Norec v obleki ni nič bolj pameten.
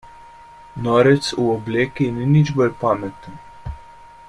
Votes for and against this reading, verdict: 2, 0, accepted